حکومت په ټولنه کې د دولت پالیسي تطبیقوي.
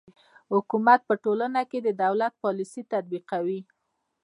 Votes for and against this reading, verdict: 1, 2, rejected